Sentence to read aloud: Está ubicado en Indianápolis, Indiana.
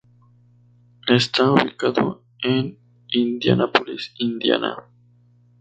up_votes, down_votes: 0, 2